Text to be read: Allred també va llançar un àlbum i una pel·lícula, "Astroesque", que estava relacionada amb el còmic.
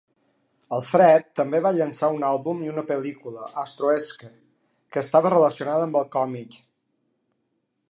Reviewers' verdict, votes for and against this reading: rejected, 1, 2